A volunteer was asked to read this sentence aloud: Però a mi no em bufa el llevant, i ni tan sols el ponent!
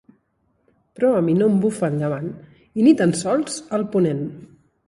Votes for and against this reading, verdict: 1, 2, rejected